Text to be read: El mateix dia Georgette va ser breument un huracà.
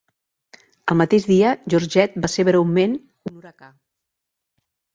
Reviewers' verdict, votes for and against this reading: accepted, 2, 0